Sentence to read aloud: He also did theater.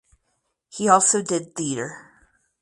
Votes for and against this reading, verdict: 2, 4, rejected